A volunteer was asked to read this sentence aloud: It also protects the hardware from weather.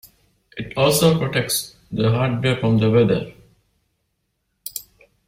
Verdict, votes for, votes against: rejected, 1, 2